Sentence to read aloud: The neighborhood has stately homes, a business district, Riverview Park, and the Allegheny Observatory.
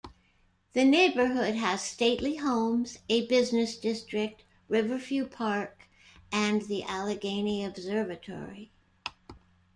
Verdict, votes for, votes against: rejected, 1, 2